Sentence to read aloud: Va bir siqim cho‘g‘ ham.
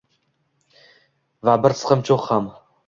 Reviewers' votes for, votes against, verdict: 1, 2, rejected